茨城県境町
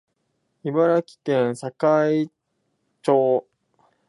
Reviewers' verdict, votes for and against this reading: accepted, 2, 1